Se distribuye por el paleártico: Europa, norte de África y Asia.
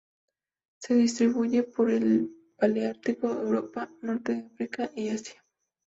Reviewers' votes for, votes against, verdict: 2, 0, accepted